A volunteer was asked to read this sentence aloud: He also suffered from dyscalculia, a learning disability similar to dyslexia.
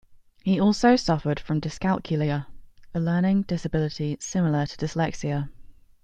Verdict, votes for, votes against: accepted, 2, 0